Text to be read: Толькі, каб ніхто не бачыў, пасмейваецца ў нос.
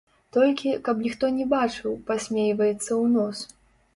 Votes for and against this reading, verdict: 0, 2, rejected